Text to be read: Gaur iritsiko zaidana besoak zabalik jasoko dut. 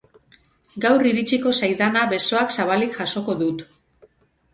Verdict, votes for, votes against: accepted, 4, 0